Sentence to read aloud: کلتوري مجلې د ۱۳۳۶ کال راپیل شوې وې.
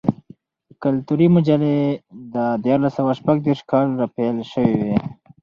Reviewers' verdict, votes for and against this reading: rejected, 0, 2